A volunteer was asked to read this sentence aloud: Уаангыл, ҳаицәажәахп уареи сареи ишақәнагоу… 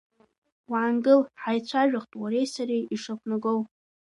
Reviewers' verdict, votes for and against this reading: accepted, 2, 1